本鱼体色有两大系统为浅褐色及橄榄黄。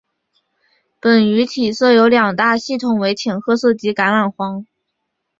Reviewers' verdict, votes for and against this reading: accepted, 2, 0